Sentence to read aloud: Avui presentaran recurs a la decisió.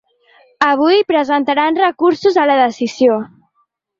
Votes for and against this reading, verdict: 1, 2, rejected